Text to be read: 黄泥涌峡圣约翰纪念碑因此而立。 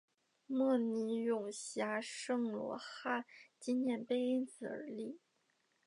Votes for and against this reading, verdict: 0, 2, rejected